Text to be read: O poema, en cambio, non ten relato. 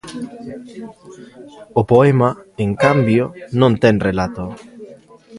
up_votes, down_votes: 2, 0